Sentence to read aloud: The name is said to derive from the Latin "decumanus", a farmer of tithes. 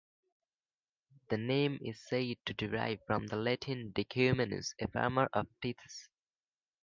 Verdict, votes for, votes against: accepted, 2, 0